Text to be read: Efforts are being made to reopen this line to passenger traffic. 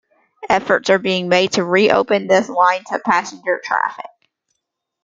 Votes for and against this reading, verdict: 2, 0, accepted